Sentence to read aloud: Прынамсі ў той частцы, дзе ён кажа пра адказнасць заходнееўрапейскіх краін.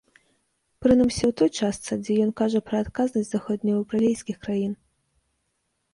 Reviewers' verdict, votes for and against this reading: rejected, 1, 2